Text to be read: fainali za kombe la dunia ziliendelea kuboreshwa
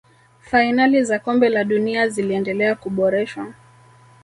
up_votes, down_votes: 1, 2